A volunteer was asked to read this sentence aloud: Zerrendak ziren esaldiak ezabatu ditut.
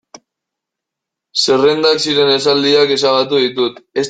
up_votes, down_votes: 0, 2